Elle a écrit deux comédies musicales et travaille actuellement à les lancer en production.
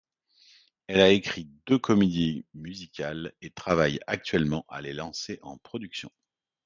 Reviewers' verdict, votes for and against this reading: accepted, 2, 0